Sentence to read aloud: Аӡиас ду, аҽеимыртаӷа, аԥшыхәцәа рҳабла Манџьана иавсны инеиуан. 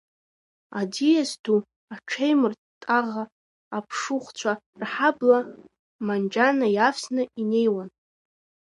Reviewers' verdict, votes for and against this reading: rejected, 0, 2